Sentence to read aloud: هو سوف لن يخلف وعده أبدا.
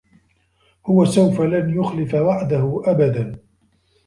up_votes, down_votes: 2, 1